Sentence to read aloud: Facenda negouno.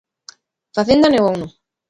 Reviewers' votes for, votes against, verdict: 2, 1, accepted